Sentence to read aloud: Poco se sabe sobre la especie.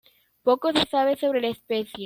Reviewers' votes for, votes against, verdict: 2, 0, accepted